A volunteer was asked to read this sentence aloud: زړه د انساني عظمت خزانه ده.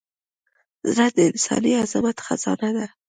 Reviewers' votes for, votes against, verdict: 2, 0, accepted